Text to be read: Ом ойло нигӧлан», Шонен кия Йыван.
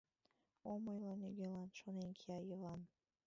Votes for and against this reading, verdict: 1, 3, rejected